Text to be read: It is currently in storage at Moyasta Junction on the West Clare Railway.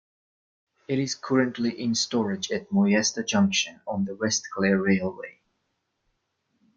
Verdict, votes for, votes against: accepted, 2, 0